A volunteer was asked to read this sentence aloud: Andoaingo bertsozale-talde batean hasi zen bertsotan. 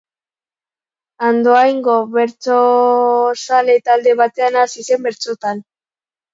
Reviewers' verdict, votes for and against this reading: accepted, 2, 0